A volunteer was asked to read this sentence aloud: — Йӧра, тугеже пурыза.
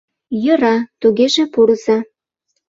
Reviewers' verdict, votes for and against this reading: accepted, 2, 0